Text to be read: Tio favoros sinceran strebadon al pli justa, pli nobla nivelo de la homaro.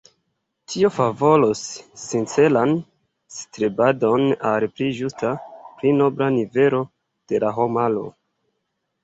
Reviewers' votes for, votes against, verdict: 0, 2, rejected